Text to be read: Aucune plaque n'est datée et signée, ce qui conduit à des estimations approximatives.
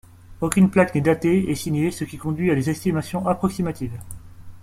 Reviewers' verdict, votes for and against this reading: accepted, 2, 0